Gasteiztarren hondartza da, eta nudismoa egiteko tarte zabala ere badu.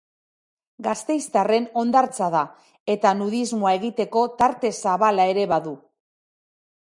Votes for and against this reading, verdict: 4, 0, accepted